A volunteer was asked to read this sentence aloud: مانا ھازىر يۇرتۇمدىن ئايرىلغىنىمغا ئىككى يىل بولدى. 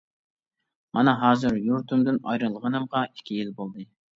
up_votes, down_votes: 2, 0